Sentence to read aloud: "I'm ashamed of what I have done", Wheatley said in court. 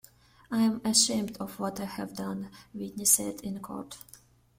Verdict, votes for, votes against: accepted, 2, 0